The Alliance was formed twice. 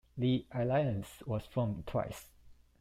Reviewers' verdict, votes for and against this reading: accepted, 2, 0